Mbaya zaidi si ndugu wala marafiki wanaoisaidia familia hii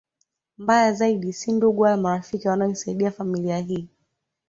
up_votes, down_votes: 0, 2